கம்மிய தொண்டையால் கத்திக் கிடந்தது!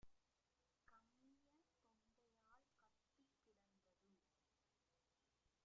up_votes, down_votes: 1, 2